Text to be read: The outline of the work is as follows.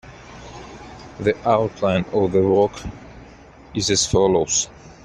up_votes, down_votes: 0, 2